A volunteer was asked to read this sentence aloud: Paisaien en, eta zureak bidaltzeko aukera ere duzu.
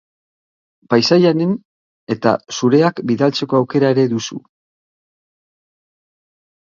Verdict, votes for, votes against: rejected, 1, 3